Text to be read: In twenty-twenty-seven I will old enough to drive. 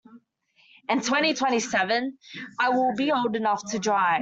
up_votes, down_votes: 2, 0